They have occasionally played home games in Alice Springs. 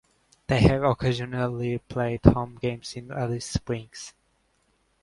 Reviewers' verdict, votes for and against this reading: accepted, 2, 0